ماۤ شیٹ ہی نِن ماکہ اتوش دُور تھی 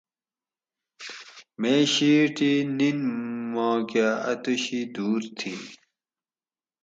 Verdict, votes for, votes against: rejected, 2, 2